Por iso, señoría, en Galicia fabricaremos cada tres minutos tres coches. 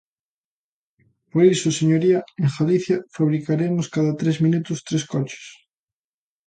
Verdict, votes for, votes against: accepted, 2, 0